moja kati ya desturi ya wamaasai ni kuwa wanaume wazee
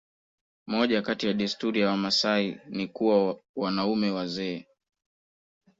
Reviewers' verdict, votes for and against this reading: rejected, 0, 2